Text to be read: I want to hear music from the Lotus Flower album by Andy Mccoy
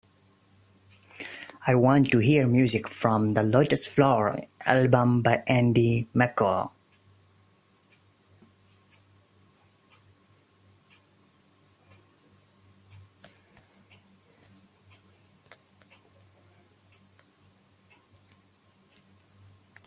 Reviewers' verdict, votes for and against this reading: accepted, 2, 0